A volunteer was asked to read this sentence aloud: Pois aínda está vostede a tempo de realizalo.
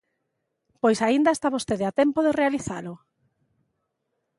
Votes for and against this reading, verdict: 2, 0, accepted